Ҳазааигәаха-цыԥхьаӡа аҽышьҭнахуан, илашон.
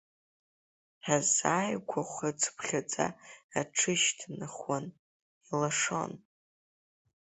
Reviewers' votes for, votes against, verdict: 2, 3, rejected